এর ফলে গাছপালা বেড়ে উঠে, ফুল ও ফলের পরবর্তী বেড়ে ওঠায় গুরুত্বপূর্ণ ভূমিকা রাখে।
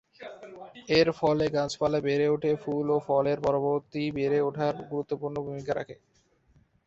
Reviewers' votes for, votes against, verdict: 0, 2, rejected